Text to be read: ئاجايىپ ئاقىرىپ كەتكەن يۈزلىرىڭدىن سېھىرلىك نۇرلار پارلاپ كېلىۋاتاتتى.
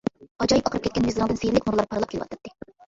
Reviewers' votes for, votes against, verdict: 0, 2, rejected